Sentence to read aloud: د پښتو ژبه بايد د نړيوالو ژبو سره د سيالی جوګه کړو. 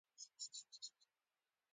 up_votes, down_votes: 0, 2